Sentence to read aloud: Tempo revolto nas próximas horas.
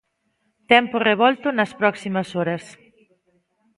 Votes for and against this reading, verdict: 2, 0, accepted